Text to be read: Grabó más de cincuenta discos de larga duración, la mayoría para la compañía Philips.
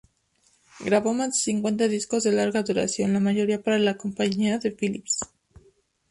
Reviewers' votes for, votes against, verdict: 2, 0, accepted